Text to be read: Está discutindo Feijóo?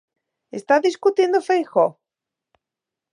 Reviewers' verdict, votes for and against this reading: accepted, 2, 0